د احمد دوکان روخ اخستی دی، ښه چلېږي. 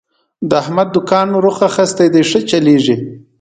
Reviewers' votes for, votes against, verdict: 2, 0, accepted